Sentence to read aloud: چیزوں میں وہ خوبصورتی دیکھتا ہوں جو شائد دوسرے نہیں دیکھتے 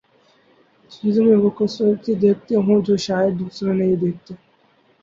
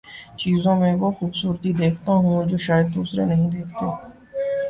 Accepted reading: second